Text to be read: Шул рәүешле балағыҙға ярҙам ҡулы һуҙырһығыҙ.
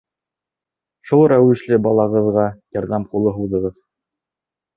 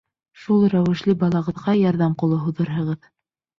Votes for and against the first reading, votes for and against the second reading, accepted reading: 0, 2, 2, 0, second